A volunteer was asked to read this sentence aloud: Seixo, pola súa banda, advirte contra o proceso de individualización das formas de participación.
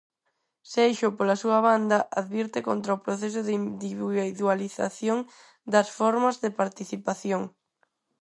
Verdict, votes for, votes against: rejected, 2, 4